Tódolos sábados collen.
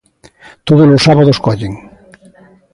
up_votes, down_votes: 2, 0